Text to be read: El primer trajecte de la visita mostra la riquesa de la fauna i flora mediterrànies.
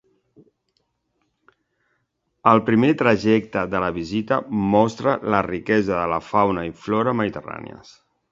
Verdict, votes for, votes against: accepted, 2, 0